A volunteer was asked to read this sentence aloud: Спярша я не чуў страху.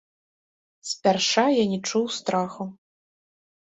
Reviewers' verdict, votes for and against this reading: rejected, 1, 2